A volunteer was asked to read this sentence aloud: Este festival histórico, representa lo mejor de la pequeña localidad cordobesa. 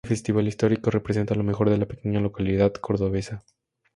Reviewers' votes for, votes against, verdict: 4, 0, accepted